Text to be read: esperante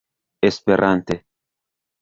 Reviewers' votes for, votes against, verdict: 0, 2, rejected